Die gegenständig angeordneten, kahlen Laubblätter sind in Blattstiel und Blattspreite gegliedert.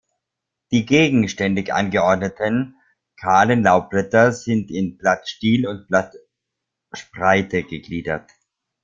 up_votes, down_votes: 0, 2